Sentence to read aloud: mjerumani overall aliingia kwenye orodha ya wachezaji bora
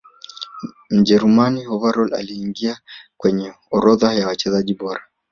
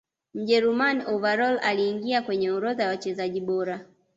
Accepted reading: second